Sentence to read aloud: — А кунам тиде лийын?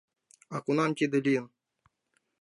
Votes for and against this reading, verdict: 1, 2, rejected